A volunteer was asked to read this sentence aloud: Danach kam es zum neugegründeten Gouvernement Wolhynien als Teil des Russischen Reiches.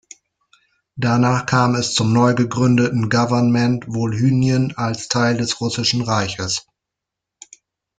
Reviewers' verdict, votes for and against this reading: rejected, 1, 2